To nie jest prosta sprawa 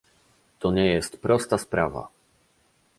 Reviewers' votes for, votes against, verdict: 2, 1, accepted